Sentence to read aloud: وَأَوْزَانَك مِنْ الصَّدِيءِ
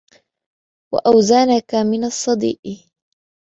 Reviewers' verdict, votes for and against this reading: accepted, 2, 1